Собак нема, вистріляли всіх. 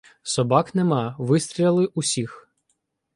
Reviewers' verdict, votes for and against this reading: rejected, 0, 2